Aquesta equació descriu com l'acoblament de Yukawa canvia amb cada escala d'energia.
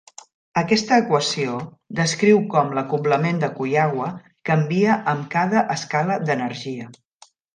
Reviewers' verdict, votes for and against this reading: rejected, 0, 2